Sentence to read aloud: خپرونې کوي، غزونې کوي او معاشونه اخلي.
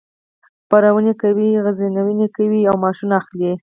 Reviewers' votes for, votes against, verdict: 2, 4, rejected